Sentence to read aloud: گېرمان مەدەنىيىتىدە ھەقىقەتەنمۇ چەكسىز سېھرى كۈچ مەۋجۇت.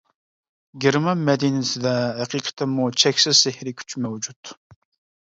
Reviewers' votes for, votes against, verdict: 1, 2, rejected